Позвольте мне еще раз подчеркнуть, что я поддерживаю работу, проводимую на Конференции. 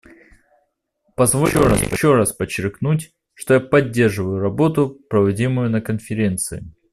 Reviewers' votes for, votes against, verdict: 0, 2, rejected